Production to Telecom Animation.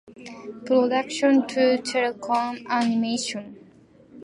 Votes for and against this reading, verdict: 2, 0, accepted